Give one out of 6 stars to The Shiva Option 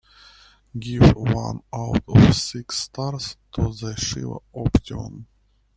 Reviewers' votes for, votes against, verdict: 0, 2, rejected